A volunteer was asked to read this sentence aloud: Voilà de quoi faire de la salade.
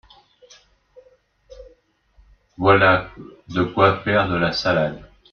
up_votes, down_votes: 2, 1